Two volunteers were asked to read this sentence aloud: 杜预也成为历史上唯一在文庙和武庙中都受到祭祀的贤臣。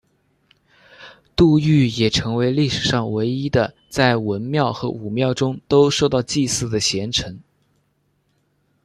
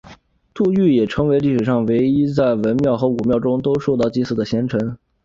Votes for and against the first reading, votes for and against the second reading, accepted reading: 1, 2, 2, 0, second